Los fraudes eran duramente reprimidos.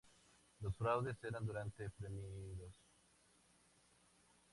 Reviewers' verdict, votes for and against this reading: rejected, 2, 2